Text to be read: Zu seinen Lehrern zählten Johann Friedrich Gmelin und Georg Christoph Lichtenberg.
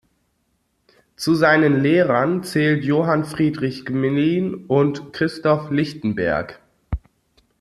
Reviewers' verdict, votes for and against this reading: rejected, 0, 2